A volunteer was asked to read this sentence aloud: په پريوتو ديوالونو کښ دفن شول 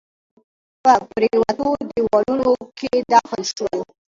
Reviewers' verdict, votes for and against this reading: accepted, 2, 1